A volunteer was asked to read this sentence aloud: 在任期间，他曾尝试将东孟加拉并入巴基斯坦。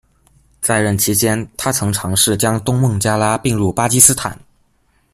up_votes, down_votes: 2, 0